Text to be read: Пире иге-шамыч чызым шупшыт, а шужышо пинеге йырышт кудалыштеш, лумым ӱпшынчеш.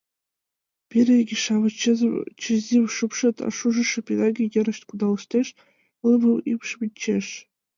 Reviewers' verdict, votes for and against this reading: rejected, 0, 3